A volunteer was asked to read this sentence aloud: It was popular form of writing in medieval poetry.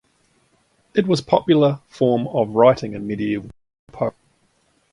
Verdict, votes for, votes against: rejected, 1, 2